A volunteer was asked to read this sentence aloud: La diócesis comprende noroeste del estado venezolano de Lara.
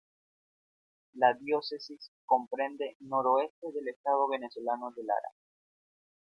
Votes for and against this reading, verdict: 2, 0, accepted